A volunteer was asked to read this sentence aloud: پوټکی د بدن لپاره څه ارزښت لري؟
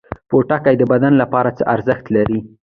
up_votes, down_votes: 1, 2